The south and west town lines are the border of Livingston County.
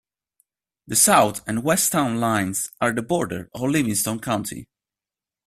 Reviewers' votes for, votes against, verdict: 2, 1, accepted